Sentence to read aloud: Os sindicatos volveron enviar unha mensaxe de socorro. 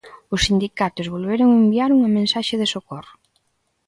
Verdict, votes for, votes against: accepted, 2, 0